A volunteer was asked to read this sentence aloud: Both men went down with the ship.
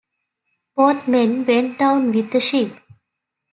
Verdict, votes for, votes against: accepted, 2, 0